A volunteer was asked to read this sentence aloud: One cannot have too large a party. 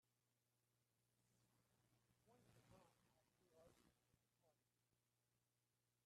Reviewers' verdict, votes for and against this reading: rejected, 0, 2